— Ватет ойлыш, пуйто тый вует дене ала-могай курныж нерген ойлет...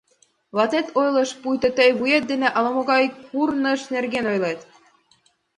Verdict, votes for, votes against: accepted, 2, 0